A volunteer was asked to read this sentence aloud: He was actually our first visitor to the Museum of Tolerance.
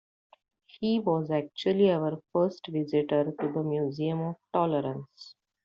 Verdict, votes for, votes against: accepted, 2, 1